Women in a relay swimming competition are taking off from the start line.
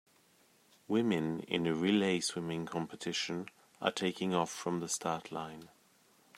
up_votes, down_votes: 2, 0